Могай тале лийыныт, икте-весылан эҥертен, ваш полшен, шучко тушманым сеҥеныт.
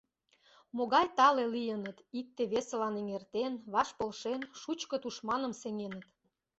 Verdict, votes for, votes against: accepted, 2, 0